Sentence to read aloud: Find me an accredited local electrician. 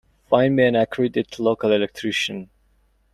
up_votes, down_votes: 0, 2